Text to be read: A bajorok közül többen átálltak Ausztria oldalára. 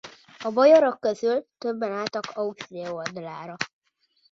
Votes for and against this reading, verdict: 0, 2, rejected